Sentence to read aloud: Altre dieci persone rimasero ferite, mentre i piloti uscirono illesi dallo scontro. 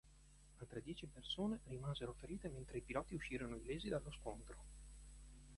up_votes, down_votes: 1, 2